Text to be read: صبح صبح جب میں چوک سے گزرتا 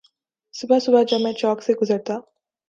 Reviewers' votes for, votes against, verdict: 3, 0, accepted